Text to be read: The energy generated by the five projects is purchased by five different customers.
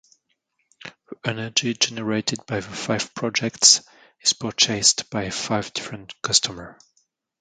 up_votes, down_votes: 0, 2